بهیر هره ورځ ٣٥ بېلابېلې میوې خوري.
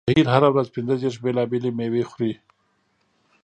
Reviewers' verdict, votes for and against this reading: rejected, 0, 2